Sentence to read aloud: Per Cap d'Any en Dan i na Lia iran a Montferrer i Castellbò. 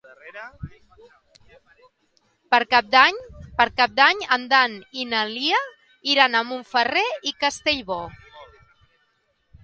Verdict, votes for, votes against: rejected, 0, 2